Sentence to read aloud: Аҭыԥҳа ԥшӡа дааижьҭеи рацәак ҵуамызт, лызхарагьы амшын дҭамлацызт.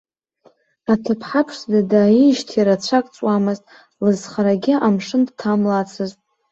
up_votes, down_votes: 2, 1